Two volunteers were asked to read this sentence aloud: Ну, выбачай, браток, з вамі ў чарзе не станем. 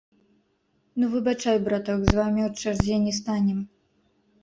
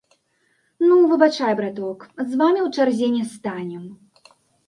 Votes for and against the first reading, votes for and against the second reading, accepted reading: 0, 3, 2, 0, second